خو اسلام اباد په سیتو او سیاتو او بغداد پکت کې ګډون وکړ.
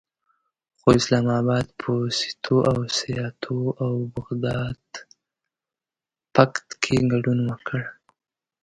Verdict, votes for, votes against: rejected, 1, 2